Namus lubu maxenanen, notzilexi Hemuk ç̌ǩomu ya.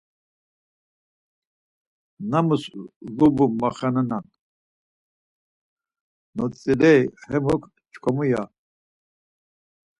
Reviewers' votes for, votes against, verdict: 0, 4, rejected